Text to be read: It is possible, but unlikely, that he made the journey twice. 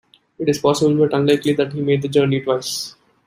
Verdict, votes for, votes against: accepted, 2, 1